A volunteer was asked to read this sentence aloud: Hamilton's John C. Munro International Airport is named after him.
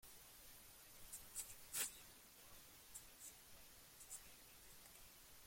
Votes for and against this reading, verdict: 0, 2, rejected